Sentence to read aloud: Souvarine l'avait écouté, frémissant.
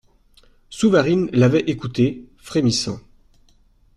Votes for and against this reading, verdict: 2, 0, accepted